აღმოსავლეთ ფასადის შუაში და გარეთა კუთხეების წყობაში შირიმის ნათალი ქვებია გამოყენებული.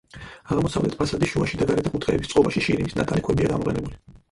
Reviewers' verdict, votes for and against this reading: rejected, 0, 4